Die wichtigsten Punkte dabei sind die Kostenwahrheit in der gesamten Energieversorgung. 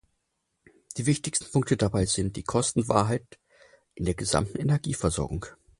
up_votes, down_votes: 4, 0